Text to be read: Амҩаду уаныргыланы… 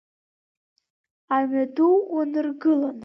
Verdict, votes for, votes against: rejected, 1, 2